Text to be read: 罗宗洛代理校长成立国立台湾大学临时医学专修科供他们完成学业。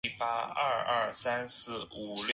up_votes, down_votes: 1, 2